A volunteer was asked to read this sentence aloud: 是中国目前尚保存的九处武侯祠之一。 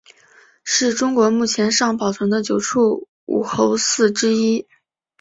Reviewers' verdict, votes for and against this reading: rejected, 1, 2